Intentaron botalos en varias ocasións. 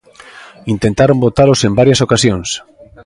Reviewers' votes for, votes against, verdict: 3, 0, accepted